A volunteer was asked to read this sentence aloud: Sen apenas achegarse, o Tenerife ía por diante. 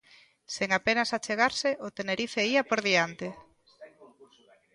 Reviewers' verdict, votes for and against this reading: rejected, 0, 2